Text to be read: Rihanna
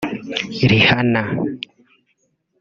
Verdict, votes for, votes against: rejected, 1, 2